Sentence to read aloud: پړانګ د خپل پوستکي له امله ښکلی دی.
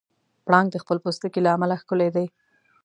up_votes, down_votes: 2, 0